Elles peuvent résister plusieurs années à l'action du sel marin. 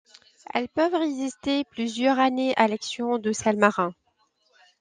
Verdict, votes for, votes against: rejected, 1, 2